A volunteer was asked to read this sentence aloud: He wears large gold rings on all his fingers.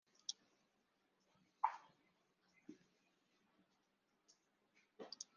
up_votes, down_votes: 0, 2